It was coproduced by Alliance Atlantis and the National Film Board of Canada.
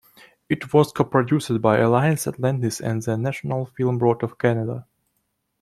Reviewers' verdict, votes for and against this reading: accepted, 2, 1